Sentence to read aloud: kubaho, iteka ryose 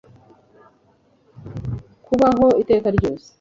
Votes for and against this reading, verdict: 2, 0, accepted